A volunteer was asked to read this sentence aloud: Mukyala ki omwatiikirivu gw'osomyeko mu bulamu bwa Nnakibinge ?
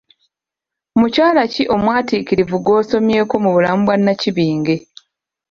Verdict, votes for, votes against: accepted, 2, 0